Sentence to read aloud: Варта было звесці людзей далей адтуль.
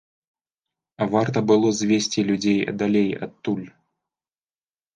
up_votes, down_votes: 2, 1